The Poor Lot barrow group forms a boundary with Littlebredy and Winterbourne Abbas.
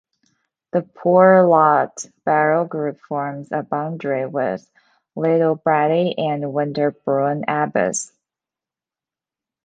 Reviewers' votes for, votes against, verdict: 2, 0, accepted